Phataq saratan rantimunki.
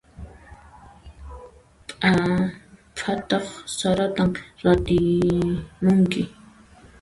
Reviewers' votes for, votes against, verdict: 1, 2, rejected